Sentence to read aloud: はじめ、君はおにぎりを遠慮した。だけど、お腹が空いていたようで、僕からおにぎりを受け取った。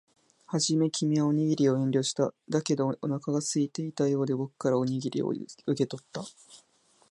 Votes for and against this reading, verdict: 0, 2, rejected